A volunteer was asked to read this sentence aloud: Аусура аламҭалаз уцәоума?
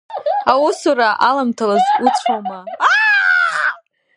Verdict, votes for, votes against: rejected, 1, 2